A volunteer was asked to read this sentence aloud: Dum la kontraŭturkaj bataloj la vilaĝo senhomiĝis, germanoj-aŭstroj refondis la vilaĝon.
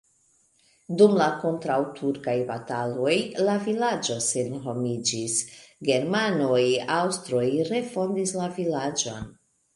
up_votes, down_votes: 2, 0